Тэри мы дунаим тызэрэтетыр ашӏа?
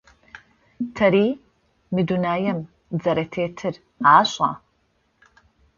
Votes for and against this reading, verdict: 2, 0, accepted